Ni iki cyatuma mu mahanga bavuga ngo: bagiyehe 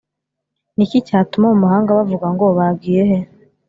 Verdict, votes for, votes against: accepted, 2, 0